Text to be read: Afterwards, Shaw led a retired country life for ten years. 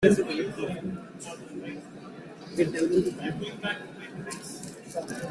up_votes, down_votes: 0, 2